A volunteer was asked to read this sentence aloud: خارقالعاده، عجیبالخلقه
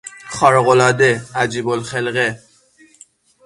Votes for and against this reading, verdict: 6, 0, accepted